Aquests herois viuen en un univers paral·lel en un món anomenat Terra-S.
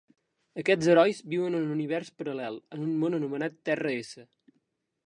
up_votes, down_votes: 2, 0